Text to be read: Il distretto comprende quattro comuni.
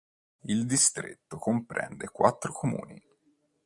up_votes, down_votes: 2, 0